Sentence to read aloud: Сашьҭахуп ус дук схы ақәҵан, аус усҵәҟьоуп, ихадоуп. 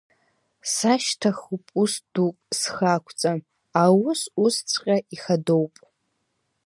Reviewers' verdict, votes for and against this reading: accepted, 2, 0